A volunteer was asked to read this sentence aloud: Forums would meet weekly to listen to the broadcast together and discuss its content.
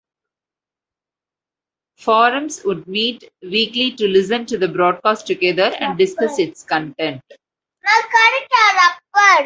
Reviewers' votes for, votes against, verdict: 1, 2, rejected